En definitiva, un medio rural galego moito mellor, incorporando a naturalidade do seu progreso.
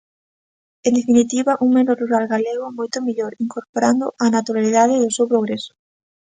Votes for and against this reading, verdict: 2, 1, accepted